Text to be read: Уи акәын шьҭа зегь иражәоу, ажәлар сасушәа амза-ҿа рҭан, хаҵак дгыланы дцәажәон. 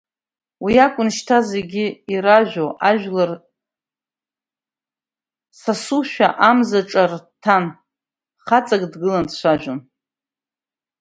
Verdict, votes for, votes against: rejected, 0, 2